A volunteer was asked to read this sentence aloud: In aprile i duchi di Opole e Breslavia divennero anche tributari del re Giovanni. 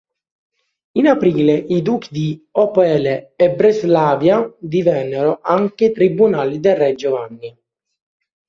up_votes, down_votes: 0, 3